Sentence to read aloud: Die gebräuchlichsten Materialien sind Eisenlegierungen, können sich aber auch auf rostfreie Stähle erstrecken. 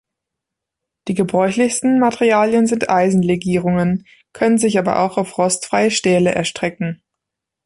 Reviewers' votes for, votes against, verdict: 2, 0, accepted